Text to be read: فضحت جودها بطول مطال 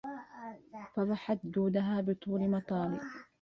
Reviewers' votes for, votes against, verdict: 1, 2, rejected